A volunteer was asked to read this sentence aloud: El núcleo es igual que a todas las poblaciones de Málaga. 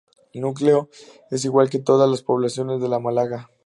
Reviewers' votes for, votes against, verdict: 0, 2, rejected